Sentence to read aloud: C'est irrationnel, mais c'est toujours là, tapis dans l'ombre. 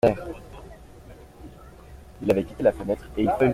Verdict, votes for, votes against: rejected, 0, 2